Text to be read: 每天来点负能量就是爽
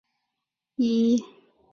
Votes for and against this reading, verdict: 0, 2, rejected